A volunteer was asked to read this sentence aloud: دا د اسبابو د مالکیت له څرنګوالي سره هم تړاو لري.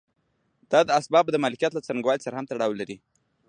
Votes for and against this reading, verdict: 2, 0, accepted